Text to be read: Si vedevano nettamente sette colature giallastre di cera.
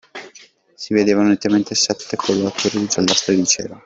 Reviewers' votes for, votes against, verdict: 0, 2, rejected